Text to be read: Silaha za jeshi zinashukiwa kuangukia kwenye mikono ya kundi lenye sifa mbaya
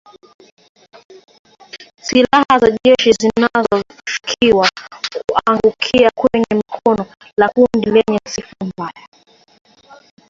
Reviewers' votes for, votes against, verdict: 1, 3, rejected